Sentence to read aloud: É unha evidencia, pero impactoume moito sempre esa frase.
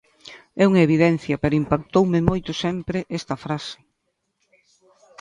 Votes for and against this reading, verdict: 0, 2, rejected